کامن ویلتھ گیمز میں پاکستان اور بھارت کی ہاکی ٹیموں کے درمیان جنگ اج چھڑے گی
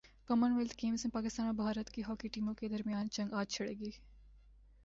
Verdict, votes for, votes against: rejected, 1, 2